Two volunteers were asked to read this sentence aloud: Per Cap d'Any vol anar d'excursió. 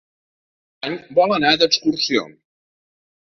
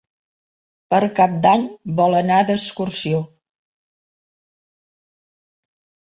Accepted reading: second